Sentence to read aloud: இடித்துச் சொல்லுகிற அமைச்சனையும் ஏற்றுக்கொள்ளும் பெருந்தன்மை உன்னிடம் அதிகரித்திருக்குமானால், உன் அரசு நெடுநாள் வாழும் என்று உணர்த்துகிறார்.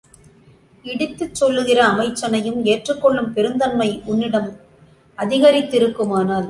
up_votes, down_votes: 0, 2